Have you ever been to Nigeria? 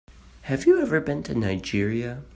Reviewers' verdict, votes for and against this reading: accepted, 2, 0